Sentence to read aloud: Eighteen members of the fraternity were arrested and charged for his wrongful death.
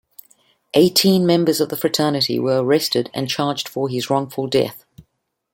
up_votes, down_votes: 2, 0